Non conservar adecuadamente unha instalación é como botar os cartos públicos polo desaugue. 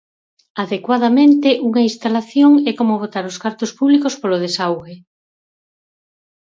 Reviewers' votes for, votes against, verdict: 0, 4, rejected